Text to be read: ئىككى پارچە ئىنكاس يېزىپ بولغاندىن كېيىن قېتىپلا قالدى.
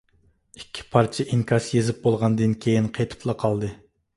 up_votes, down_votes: 2, 0